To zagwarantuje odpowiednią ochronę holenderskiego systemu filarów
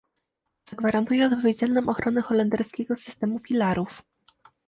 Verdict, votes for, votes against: rejected, 1, 2